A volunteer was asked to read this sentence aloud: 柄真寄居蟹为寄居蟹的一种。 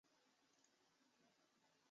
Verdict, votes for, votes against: rejected, 0, 2